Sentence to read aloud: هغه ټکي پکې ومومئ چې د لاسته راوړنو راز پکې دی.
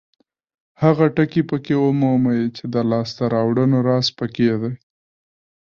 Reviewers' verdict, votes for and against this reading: rejected, 1, 2